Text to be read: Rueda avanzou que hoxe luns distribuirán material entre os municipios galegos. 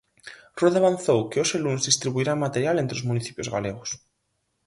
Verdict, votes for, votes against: accepted, 4, 0